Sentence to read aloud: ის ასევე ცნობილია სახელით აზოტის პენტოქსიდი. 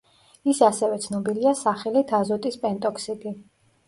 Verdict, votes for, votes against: accepted, 2, 0